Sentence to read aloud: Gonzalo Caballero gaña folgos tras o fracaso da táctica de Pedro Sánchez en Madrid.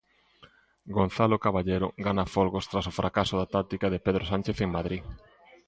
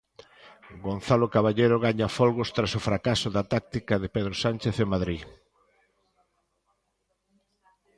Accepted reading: second